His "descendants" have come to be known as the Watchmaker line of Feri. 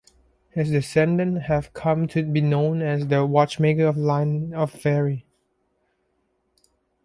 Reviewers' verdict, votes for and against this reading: accepted, 2, 0